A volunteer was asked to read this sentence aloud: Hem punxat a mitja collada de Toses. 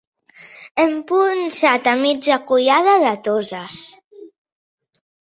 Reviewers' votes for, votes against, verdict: 2, 0, accepted